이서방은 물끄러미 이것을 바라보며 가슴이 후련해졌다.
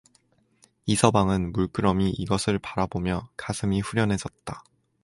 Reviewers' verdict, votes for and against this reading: accepted, 4, 0